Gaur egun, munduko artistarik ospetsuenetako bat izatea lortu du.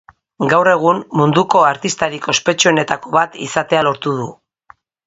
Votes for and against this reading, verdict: 2, 0, accepted